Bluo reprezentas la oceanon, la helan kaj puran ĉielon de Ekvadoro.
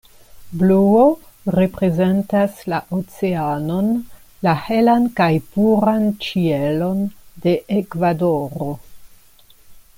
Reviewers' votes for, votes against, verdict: 2, 0, accepted